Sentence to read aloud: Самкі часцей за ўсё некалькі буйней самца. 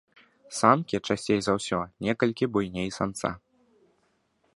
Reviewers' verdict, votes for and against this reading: accepted, 2, 0